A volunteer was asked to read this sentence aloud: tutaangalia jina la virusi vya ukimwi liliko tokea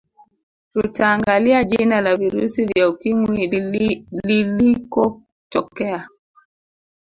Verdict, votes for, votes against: rejected, 1, 2